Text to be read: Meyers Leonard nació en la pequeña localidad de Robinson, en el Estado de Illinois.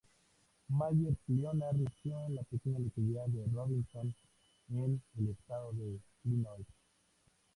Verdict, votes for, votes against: accepted, 2, 0